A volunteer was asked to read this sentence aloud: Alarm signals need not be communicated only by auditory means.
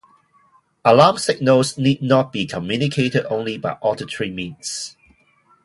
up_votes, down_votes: 2, 0